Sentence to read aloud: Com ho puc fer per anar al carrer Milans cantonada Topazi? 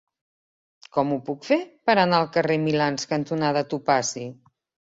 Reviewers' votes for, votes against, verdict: 2, 0, accepted